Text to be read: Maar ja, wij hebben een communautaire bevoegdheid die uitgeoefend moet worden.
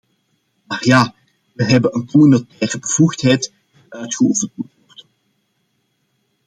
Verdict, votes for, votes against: rejected, 0, 2